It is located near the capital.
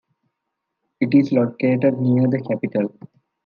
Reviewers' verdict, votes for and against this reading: accepted, 2, 0